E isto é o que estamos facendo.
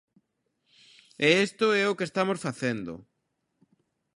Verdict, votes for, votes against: rejected, 0, 2